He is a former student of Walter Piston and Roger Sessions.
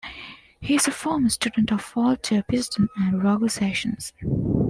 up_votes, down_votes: 2, 0